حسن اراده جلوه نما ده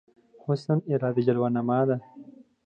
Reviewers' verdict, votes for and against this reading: accepted, 2, 0